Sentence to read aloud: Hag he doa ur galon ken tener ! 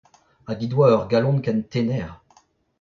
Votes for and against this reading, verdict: 0, 2, rejected